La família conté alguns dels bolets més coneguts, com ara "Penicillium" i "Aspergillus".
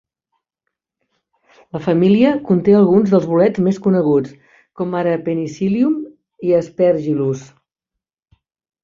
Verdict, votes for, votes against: accepted, 2, 0